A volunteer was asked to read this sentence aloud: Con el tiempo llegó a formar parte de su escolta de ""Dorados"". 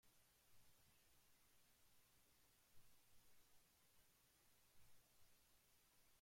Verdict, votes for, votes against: rejected, 0, 2